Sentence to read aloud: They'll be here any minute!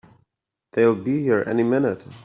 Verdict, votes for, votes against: accepted, 3, 0